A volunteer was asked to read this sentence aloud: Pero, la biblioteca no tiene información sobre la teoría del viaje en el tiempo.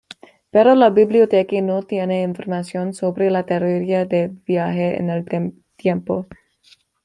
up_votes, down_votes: 1, 2